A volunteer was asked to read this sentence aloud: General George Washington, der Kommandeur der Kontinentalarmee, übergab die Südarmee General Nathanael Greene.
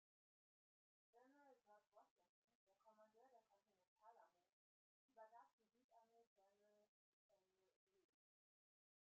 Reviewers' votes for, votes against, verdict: 0, 2, rejected